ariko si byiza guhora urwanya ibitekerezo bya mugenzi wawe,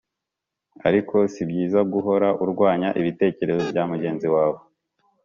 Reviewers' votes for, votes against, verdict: 2, 0, accepted